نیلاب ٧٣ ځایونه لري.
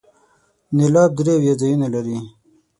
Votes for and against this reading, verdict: 0, 2, rejected